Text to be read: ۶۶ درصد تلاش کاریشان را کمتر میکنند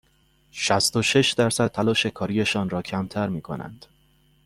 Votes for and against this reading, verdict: 0, 2, rejected